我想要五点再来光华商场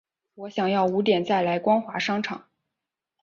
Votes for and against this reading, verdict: 6, 0, accepted